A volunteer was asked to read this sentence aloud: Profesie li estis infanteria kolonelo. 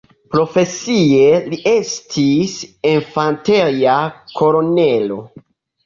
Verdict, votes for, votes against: rejected, 0, 2